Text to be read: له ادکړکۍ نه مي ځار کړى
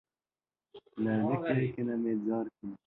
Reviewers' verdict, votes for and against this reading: rejected, 0, 2